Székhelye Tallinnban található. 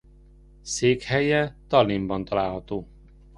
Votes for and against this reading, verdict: 2, 0, accepted